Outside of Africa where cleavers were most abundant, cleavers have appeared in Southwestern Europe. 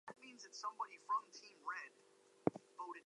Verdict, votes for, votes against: rejected, 0, 2